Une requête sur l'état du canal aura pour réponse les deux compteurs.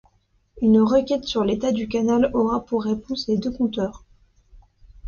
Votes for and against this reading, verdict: 2, 0, accepted